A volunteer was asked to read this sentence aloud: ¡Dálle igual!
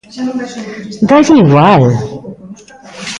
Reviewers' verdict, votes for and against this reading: rejected, 0, 2